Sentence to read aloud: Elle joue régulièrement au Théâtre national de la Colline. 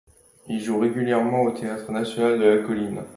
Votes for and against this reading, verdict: 1, 2, rejected